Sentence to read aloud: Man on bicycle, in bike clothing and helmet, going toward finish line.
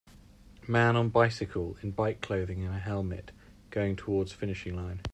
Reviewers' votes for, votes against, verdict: 0, 2, rejected